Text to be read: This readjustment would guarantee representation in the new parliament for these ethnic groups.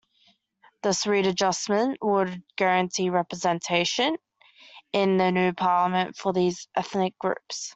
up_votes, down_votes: 2, 1